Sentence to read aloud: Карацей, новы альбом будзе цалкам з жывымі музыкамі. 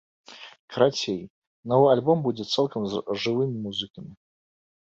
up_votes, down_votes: 1, 2